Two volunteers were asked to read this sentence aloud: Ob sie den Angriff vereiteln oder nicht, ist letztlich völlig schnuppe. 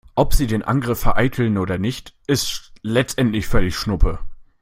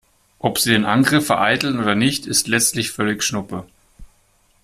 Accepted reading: second